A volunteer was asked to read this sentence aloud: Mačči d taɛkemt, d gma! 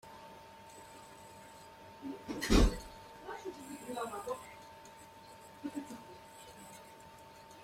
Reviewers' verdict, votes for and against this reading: rejected, 0, 2